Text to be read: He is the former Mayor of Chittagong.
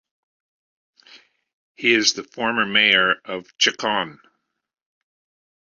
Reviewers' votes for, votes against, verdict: 0, 2, rejected